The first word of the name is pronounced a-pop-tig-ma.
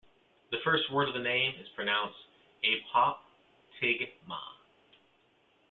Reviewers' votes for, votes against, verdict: 2, 0, accepted